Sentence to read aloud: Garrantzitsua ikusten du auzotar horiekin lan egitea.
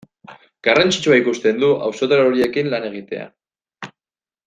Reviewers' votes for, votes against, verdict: 2, 0, accepted